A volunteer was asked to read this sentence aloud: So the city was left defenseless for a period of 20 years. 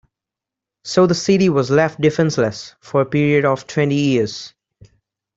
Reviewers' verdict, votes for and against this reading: rejected, 0, 2